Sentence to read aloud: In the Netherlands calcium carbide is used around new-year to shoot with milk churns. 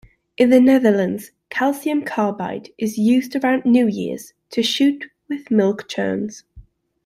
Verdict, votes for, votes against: rejected, 1, 2